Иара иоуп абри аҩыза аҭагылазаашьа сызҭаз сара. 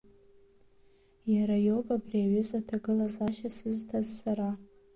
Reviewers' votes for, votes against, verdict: 2, 0, accepted